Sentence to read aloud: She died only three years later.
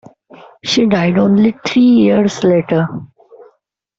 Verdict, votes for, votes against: accepted, 2, 0